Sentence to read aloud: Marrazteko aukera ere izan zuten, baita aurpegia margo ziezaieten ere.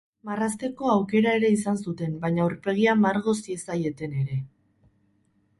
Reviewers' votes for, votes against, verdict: 4, 8, rejected